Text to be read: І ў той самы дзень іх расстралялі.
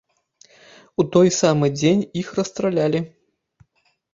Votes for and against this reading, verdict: 1, 2, rejected